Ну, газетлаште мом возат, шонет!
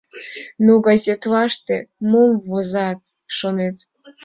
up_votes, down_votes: 1, 2